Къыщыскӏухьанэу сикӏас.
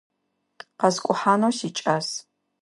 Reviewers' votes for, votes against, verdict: 0, 2, rejected